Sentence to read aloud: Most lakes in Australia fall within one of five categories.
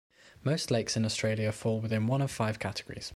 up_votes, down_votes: 2, 0